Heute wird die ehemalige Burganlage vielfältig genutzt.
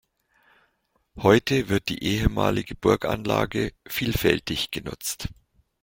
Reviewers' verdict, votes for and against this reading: accepted, 2, 0